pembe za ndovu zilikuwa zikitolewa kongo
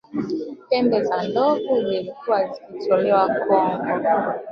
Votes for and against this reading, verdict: 0, 2, rejected